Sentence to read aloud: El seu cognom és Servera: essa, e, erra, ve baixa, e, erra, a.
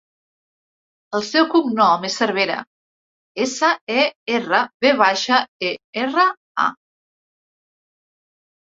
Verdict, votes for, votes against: accepted, 2, 0